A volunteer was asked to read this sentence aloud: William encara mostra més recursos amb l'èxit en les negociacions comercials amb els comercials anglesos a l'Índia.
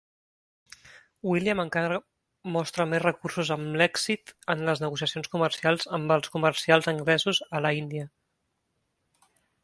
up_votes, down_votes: 0, 2